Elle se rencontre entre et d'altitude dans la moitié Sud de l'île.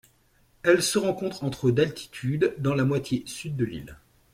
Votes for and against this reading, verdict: 1, 2, rejected